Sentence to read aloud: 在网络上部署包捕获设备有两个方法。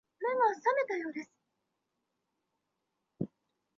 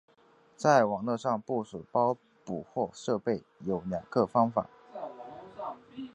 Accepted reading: second